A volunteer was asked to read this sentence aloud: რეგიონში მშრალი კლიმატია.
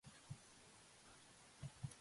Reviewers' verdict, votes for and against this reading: rejected, 0, 2